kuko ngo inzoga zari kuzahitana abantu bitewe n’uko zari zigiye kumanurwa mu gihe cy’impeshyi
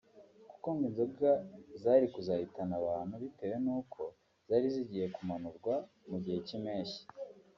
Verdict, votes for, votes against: rejected, 0, 2